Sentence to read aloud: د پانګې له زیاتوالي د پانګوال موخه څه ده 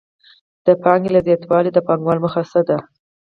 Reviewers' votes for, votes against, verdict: 4, 0, accepted